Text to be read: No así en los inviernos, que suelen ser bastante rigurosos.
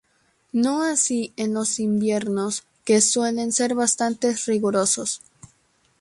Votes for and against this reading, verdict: 2, 0, accepted